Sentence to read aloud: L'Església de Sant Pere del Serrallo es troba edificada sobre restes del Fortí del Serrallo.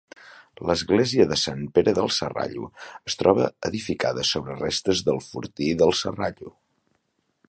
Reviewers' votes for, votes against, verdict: 4, 0, accepted